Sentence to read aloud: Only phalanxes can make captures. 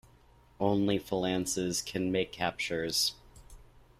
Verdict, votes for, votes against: rejected, 1, 2